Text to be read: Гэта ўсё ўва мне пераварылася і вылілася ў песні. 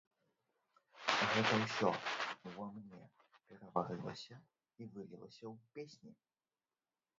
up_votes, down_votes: 0, 2